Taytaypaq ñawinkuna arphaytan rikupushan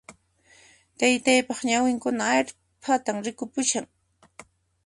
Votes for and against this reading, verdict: 2, 0, accepted